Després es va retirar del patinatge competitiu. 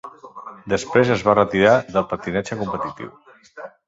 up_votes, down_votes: 1, 2